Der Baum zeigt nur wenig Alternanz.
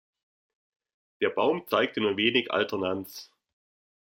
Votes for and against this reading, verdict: 0, 2, rejected